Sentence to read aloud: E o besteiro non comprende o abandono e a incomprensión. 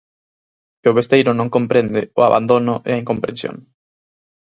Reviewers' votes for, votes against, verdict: 6, 0, accepted